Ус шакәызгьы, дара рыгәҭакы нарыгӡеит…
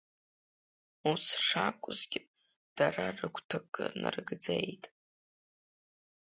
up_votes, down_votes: 2, 0